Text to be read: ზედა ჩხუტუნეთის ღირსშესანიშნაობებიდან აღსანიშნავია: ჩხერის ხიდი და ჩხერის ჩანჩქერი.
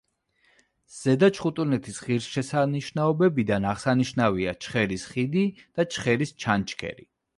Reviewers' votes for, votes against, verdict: 1, 2, rejected